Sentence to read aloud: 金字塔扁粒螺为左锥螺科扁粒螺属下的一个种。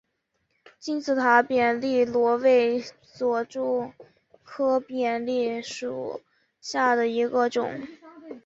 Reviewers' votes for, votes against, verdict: 0, 2, rejected